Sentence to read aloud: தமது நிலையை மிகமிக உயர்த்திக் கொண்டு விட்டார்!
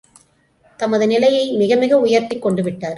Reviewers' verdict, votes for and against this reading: accepted, 2, 0